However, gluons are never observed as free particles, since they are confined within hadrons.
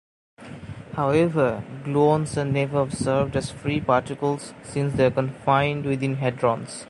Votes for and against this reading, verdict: 2, 0, accepted